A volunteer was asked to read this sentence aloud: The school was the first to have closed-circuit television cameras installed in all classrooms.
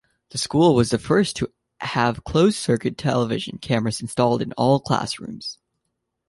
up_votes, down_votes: 2, 0